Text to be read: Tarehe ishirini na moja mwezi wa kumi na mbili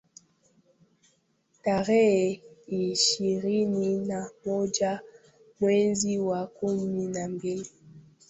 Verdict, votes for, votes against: accepted, 2, 0